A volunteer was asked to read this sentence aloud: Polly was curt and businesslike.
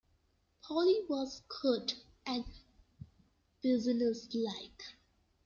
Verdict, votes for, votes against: accepted, 2, 0